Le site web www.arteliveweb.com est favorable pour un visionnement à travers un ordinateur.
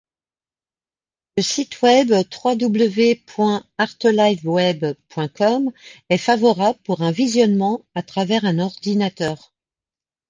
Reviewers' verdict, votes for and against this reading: rejected, 0, 2